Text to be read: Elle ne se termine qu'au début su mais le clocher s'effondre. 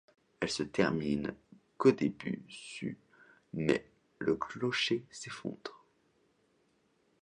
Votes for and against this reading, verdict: 0, 2, rejected